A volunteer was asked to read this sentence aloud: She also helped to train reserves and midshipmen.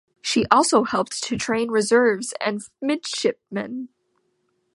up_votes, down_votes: 2, 0